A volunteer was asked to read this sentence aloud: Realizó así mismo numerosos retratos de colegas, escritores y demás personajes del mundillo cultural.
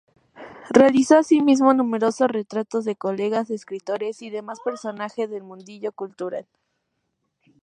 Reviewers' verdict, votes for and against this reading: accepted, 8, 0